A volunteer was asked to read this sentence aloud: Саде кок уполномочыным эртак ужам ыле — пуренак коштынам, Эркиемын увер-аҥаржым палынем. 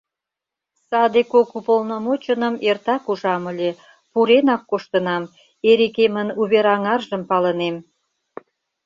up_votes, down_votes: 0, 2